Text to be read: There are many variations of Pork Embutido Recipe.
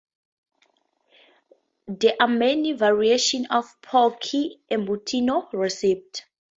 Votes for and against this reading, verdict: 0, 4, rejected